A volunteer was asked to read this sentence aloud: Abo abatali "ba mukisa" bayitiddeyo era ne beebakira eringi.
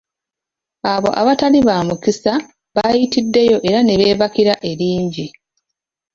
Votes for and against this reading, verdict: 2, 0, accepted